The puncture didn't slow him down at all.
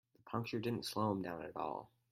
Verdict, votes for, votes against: rejected, 0, 4